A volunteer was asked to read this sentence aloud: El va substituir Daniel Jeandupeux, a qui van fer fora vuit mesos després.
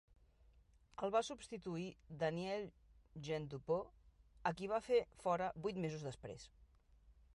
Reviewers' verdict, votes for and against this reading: rejected, 0, 2